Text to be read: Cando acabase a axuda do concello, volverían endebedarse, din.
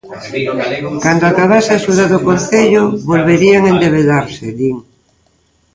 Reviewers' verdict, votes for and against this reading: rejected, 0, 2